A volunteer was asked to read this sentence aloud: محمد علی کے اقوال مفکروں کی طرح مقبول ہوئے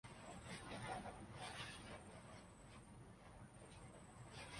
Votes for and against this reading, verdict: 0, 2, rejected